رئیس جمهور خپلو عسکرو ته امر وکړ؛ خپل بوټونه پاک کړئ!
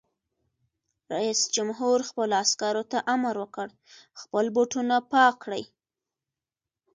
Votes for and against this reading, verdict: 2, 0, accepted